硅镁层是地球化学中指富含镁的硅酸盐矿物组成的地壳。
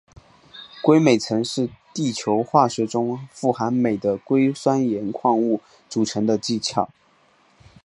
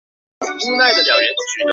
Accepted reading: first